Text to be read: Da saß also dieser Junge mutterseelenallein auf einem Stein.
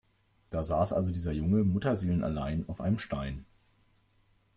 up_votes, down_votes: 2, 0